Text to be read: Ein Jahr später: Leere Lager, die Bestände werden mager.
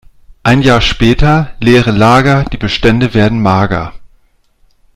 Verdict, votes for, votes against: accepted, 2, 0